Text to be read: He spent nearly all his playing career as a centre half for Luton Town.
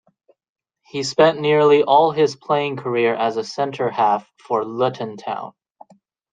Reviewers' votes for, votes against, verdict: 1, 2, rejected